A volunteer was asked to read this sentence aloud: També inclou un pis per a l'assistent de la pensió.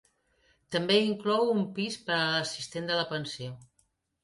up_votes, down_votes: 2, 0